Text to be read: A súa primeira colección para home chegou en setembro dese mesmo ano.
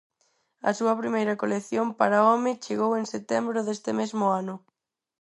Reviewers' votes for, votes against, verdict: 0, 4, rejected